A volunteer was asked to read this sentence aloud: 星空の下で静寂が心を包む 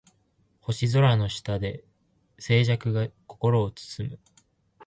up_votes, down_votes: 2, 0